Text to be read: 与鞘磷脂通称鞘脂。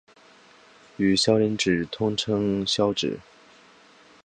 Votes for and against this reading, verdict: 6, 1, accepted